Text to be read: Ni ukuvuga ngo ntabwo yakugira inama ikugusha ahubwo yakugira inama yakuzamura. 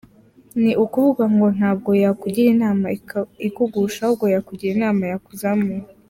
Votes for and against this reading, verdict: 0, 2, rejected